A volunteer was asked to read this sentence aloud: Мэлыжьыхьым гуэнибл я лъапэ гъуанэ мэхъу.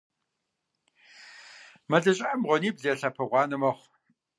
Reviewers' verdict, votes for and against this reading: rejected, 1, 2